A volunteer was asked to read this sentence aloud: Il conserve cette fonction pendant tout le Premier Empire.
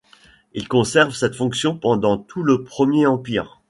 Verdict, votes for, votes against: accepted, 2, 1